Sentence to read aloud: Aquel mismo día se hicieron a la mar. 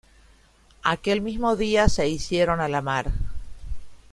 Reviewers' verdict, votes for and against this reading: accepted, 2, 1